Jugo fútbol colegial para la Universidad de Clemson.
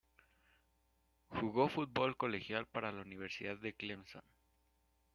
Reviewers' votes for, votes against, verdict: 1, 2, rejected